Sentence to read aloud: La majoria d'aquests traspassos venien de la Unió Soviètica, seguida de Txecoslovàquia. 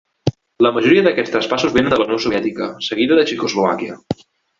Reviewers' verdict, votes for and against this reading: accepted, 2, 1